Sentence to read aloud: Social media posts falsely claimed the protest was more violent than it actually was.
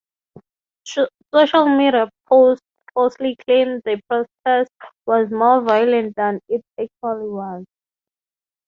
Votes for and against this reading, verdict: 0, 3, rejected